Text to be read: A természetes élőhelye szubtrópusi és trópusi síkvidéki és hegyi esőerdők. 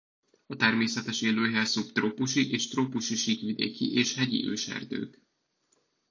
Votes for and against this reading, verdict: 0, 2, rejected